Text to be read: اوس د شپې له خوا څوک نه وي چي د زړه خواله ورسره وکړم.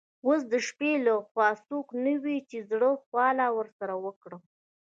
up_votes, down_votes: 1, 2